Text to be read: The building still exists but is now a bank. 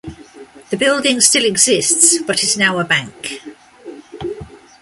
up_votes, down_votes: 2, 0